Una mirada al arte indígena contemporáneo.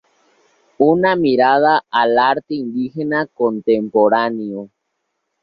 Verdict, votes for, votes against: accepted, 2, 0